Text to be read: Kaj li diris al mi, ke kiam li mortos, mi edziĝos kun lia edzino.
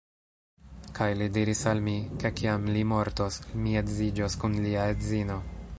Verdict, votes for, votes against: accepted, 2, 0